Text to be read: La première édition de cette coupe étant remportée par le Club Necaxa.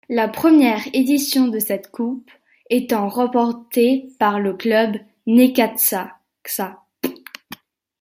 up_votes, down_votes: 0, 2